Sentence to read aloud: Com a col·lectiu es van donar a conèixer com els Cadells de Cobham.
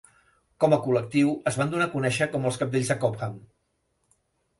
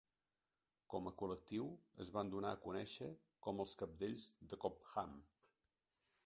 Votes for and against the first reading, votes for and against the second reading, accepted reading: 2, 0, 1, 2, first